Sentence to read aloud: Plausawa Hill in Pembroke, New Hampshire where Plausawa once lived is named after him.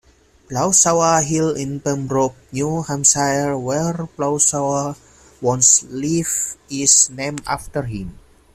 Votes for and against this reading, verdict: 2, 1, accepted